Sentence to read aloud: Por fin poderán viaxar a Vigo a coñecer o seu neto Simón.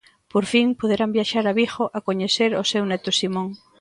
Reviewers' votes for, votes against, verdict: 2, 0, accepted